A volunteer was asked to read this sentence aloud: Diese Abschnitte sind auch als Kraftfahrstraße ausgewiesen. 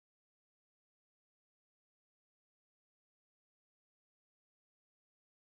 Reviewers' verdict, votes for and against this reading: rejected, 1, 2